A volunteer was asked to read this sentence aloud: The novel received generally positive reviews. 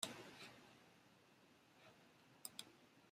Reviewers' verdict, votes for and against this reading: rejected, 0, 2